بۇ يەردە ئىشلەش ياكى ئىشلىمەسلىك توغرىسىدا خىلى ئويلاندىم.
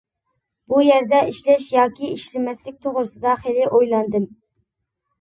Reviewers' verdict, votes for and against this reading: accepted, 2, 0